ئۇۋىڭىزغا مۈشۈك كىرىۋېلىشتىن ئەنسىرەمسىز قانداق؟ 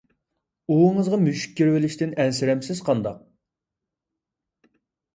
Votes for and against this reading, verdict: 2, 0, accepted